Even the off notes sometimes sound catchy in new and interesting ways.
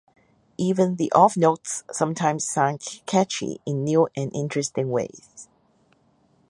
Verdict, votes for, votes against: accepted, 4, 0